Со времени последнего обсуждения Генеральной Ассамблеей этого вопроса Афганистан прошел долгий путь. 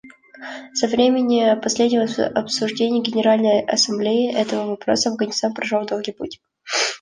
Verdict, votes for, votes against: accepted, 2, 1